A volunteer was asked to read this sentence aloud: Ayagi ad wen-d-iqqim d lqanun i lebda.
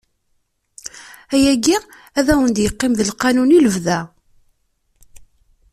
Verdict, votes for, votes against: accepted, 2, 0